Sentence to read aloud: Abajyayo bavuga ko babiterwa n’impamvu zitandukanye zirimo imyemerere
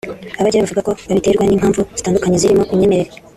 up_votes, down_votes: 0, 2